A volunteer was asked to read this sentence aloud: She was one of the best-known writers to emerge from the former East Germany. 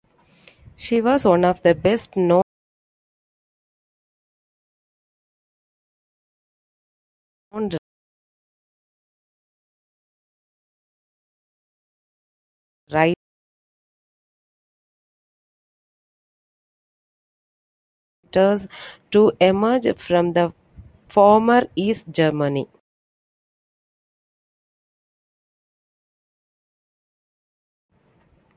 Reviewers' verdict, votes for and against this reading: rejected, 0, 2